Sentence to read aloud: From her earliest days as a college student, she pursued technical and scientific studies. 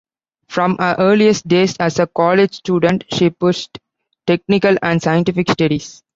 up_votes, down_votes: 1, 2